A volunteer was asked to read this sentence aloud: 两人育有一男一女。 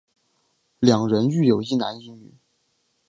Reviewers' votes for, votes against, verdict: 3, 1, accepted